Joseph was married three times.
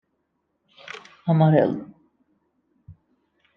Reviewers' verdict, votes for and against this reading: rejected, 0, 2